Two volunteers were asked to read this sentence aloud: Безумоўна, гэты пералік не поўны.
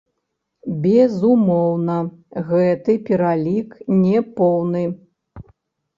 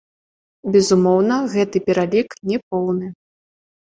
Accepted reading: second